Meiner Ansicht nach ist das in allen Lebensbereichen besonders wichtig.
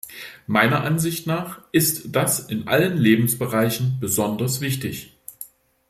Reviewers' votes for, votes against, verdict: 2, 0, accepted